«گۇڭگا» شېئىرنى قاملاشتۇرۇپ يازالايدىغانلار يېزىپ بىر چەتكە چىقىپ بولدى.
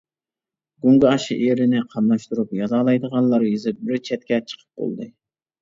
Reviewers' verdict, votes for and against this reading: accepted, 2, 0